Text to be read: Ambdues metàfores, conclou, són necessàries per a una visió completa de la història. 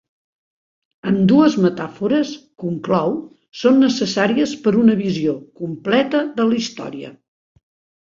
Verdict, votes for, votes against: accepted, 2, 0